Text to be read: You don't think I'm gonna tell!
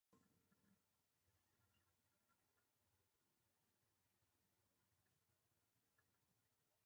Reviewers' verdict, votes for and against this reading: rejected, 0, 4